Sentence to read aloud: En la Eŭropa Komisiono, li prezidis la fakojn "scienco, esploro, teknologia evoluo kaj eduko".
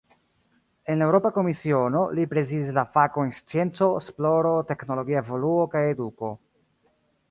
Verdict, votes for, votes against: rejected, 1, 2